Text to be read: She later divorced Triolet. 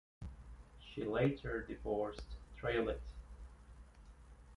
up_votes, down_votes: 1, 2